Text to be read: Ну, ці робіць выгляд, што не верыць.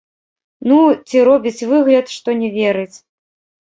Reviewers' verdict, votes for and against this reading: rejected, 0, 2